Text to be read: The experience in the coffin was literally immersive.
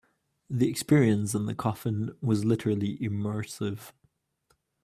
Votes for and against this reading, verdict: 2, 0, accepted